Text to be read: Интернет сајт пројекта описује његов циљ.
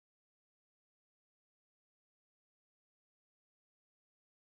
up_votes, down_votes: 0, 2